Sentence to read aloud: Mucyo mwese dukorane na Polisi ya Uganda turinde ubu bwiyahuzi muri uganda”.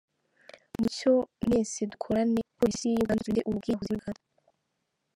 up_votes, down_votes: 0, 2